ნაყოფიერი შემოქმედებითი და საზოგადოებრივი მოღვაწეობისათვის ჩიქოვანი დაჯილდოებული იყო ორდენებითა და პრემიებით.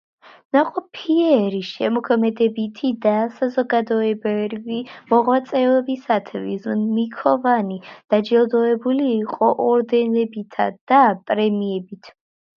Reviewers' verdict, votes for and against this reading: accepted, 2, 1